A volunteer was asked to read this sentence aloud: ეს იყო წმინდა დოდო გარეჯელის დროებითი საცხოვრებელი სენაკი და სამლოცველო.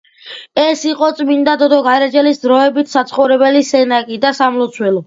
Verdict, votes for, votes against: accepted, 2, 0